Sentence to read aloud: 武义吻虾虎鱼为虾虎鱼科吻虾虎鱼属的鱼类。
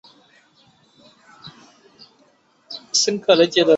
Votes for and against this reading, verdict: 2, 3, rejected